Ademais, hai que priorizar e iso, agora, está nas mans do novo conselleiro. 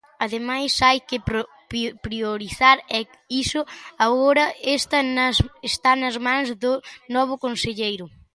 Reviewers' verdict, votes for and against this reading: rejected, 1, 2